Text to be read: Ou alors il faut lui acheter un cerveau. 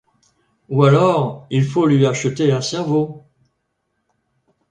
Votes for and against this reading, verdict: 2, 0, accepted